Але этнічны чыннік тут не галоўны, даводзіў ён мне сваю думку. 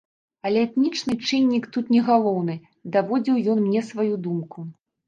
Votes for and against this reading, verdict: 2, 0, accepted